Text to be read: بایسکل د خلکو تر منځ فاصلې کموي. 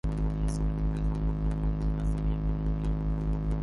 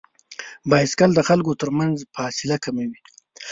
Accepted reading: second